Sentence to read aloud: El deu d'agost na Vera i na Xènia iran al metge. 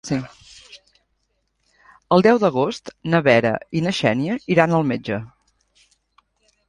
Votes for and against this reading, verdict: 2, 0, accepted